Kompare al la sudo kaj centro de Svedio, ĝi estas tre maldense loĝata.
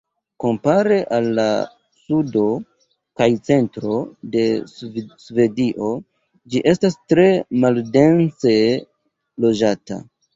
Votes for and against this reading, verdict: 1, 2, rejected